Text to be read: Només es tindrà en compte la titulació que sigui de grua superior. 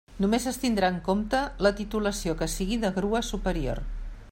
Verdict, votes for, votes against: accepted, 3, 0